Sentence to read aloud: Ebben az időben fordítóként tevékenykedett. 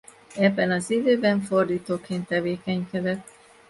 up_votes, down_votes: 2, 0